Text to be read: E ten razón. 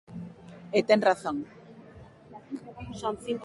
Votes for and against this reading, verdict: 0, 2, rejected